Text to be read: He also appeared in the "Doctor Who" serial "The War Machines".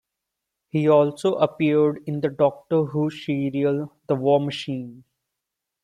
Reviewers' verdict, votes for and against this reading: rejected, 0, 2